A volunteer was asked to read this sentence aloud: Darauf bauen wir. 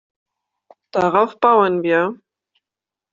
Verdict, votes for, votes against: accepted, 2, 0